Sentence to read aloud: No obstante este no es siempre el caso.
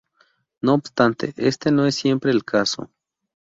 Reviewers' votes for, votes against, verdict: 2, 0, accepted